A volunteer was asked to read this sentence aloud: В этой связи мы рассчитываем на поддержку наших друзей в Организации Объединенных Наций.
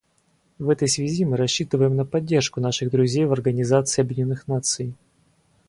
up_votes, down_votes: 2, 2